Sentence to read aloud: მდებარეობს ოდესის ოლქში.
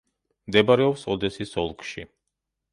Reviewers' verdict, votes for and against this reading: accepted, 2, 0